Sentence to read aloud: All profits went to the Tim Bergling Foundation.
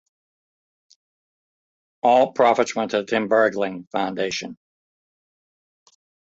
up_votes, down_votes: 2, 0